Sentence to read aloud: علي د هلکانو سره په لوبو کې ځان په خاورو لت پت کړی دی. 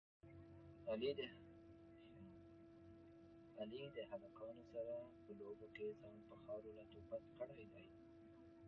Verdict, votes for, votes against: rejected, 0, 2